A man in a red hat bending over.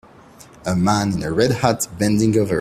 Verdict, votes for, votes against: accepted, 2, 0